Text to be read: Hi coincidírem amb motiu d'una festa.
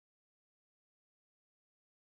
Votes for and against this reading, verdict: 0, 2, rejected